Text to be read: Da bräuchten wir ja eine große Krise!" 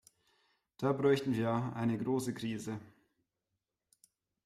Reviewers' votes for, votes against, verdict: 0, 2, rejected